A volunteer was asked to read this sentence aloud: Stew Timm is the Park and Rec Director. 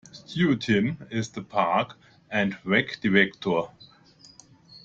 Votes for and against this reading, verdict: 2, 0, accepted